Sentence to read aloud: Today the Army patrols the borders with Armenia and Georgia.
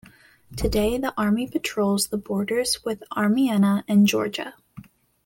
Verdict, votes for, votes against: rejected, 0, 2